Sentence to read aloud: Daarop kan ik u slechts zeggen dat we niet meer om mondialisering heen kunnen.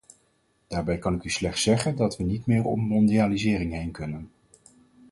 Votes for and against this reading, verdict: 2, 4, rejected